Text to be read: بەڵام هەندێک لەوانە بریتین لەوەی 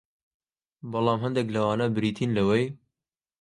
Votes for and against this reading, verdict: 2, 0, accepted